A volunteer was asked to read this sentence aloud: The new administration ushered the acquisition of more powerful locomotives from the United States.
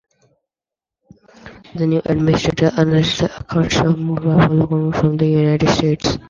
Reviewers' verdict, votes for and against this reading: rejected, 0, 2